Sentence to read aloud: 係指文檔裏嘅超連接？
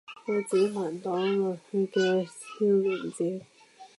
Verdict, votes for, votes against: rejected, 0, 3